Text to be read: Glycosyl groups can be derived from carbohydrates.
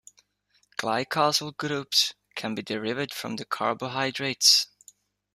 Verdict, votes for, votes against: rejected, 1, 2